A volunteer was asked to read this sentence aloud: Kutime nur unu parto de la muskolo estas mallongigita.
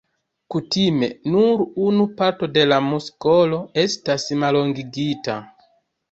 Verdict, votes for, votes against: rejected, 1, 2